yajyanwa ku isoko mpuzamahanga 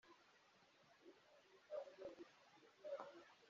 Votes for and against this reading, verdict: 0, 3, rejected